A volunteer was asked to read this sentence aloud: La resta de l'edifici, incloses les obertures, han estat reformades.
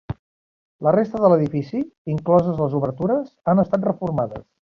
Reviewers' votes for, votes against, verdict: 5, 0, accepted